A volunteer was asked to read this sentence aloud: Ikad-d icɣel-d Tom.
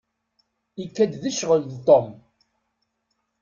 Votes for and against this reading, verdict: 0, 2, rejected